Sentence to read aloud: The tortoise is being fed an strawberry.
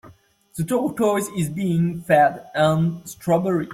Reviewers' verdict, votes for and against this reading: rejected, 0, 2